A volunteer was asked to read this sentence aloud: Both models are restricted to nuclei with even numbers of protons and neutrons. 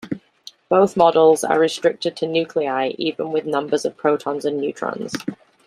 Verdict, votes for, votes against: rejected, 0, 2